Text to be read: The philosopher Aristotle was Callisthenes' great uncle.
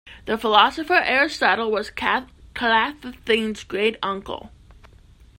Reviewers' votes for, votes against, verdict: 1, 2, rejected